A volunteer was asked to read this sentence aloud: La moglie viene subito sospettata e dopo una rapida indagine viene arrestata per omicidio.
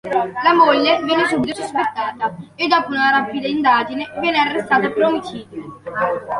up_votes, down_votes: 2, 0